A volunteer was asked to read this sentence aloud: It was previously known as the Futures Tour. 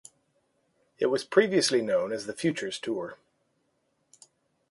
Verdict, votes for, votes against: accepted, 2, 0